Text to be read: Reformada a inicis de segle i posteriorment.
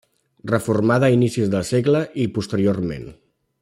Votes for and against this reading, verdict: 0, 2, rejected